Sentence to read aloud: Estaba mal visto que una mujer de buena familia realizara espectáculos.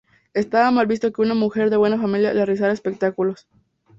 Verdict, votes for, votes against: accepted, 2, 0